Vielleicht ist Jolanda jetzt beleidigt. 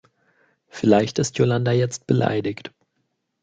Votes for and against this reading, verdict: 2, 0, accepted